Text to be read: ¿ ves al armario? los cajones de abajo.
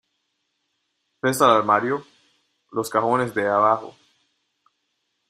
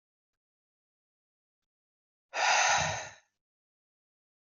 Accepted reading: first